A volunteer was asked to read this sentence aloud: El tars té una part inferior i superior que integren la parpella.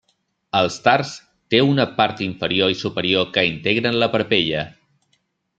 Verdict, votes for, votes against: accepted, 2, 0